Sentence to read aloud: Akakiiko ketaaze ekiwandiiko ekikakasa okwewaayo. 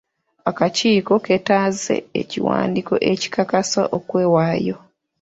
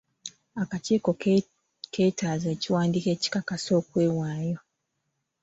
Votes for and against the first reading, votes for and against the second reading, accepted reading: 3, 0, 1, 3, first